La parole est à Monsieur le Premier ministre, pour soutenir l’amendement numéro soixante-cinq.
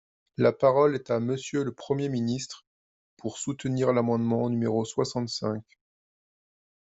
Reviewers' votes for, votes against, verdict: 2, 0, accepted